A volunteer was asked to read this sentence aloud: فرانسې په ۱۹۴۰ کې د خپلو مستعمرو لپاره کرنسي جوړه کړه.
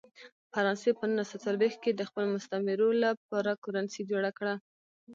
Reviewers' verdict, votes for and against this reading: rejected, 0, 2